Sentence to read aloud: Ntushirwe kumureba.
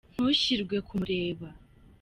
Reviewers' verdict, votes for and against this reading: accepted, 3, 0